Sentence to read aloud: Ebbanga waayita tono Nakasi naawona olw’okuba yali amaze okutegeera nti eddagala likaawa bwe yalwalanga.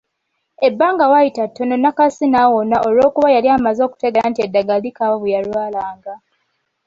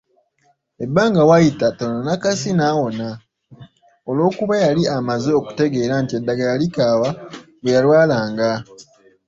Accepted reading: second